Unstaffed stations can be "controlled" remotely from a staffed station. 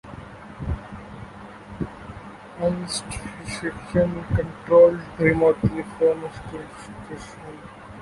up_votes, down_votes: 0, 2